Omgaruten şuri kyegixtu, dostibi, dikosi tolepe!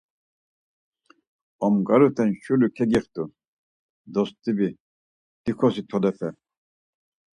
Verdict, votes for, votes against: accepted, 4, 0